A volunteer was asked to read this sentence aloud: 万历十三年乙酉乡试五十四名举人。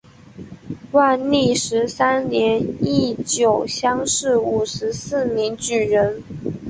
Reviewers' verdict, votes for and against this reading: rejected, 1, 3